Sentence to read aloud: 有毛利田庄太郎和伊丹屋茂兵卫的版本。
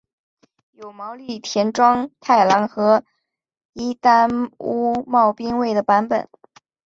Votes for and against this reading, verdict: 2, 0, accepted